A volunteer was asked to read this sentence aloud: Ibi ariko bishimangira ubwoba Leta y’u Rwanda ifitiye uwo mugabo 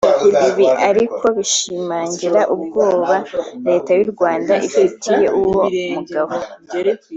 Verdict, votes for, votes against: accepted, 2, 0